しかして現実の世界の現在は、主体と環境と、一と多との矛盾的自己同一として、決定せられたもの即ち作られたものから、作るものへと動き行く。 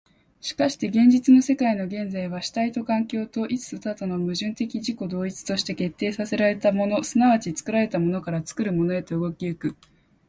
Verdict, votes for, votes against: accepted, 14, 2